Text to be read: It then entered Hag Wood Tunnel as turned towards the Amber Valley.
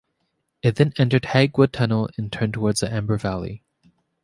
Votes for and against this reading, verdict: 2, 1, accepted